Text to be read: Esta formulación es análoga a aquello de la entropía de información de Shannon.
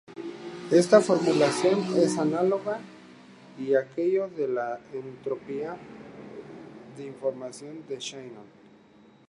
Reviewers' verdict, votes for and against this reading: accepted, 2, 0